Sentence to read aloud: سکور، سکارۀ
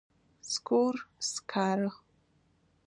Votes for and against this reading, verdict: 2, 0, accepted